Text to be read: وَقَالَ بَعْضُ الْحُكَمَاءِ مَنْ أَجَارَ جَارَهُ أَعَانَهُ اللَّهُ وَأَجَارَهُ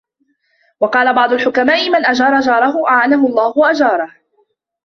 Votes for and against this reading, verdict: 1, 3, rejected